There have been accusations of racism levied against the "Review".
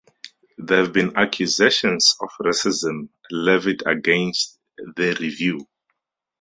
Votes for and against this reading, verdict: 4, 0, accepted